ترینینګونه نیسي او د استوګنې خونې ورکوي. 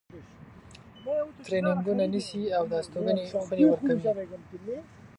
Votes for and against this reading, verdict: 2, 1, accepted